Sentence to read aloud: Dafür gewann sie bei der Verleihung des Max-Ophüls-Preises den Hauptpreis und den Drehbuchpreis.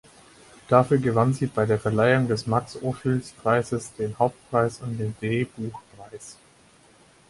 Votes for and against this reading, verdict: 0, 4, rejected